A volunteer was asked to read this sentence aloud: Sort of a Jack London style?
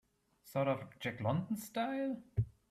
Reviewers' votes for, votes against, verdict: 2, 0, accepted